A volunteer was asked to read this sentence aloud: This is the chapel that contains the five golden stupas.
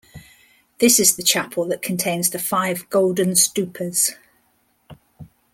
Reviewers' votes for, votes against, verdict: 2, 0, accepted